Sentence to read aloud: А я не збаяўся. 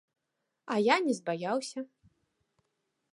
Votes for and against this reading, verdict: 2, 0, accepted